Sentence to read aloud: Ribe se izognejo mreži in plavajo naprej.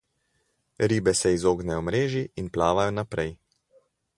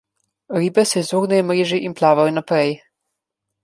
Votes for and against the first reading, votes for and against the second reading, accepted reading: 0, 2, 2, 1, second